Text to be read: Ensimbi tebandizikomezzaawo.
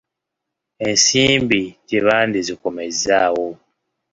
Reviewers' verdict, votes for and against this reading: accepted, 2, 0